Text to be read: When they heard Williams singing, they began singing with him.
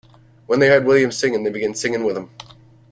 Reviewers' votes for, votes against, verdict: 1, 2, rejected